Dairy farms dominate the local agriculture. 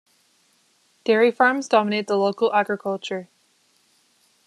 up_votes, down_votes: 2, 0